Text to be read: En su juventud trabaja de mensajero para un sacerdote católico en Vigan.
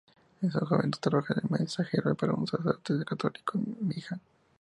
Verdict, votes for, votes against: rejected, 0, 2